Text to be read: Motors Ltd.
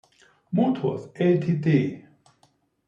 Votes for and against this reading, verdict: 2, 0, accepted